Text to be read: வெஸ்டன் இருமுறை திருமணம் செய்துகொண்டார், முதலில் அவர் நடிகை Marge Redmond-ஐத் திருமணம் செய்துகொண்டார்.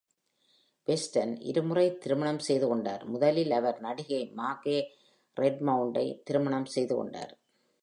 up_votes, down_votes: 2, 0